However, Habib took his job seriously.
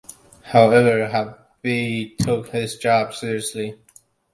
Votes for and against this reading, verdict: 0, 2, rejected